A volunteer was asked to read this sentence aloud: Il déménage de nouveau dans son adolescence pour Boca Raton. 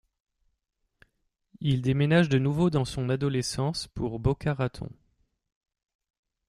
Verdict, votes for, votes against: accepted, 2, 0